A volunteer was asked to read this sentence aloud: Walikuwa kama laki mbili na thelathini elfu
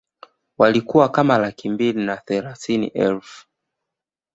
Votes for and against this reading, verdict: 2, 0, accepted